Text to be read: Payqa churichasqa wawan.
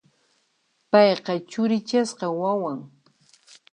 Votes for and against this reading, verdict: 2, 0, accepted